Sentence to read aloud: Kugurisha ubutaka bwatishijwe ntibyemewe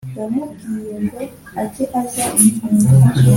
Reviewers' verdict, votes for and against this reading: rejected, 0, 2